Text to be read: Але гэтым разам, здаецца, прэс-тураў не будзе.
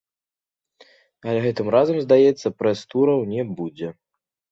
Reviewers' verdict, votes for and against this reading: accepted, 2, 0